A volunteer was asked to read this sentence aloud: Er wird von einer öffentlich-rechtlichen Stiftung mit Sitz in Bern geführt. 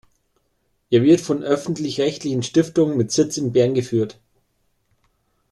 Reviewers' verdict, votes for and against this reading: rejected, 0, 2